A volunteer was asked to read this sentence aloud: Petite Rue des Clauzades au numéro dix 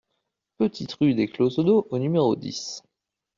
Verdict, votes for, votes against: rejected, 0, 2